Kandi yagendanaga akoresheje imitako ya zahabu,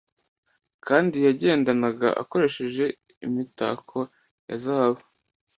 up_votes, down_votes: 2, 0